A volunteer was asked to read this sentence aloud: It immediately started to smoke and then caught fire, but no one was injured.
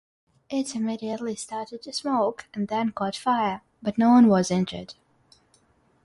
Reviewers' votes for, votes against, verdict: 6, 0, accepted